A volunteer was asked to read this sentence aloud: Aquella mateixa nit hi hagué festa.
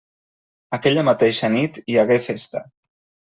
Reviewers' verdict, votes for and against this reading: accepted, 3, 0